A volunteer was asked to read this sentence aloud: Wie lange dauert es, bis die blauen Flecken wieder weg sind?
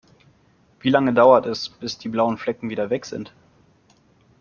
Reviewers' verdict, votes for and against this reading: accepted, 2, 0